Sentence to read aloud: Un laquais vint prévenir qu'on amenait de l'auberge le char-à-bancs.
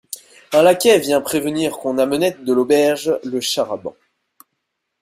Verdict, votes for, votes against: accepted, 2, 0